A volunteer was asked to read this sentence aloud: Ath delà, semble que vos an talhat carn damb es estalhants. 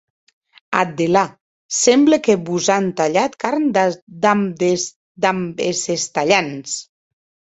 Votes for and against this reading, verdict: 0, 2, rejected